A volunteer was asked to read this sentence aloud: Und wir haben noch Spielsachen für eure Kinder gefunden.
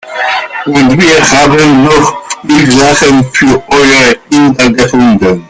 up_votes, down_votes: 0, 2